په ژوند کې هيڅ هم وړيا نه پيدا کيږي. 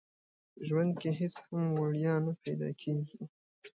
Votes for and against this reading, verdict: 2, 0, accepted